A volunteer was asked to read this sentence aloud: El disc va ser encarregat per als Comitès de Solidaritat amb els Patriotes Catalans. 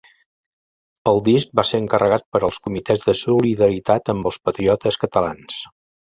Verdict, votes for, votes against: accepted, 2, 0